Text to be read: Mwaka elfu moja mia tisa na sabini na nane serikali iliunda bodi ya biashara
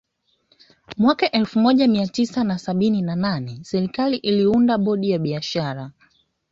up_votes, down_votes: 2, 1